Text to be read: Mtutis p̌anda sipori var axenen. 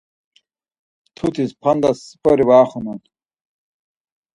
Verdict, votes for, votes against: accepted, 4, 2